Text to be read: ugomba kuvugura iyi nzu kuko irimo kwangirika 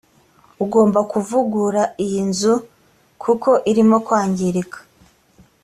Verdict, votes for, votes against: accepted, 2, 0